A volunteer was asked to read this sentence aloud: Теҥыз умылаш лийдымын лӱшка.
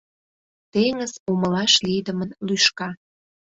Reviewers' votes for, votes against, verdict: 2, 0, accepted